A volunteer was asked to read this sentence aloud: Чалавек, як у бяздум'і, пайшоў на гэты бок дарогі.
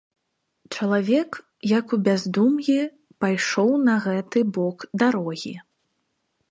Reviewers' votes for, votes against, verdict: 2, 0, accepted